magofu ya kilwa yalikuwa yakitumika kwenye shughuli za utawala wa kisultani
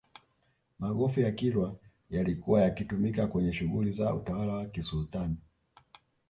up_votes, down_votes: 0, 2